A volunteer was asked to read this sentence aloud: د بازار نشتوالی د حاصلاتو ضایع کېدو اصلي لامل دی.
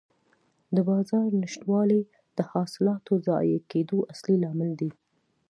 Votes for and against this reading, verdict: 2, 0, accepted